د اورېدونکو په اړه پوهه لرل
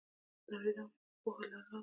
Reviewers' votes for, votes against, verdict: 0, 2, rejected